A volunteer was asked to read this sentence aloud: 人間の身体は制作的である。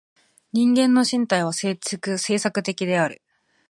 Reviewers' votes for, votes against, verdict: 1, 2, rejected